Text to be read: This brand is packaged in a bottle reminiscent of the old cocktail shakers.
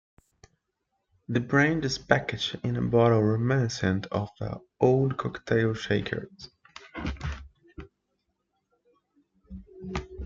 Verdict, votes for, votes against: rejected, 1, 2